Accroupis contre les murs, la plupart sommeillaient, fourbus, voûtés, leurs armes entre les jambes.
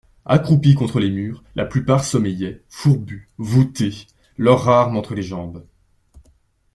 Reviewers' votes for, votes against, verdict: 2, 1, accepted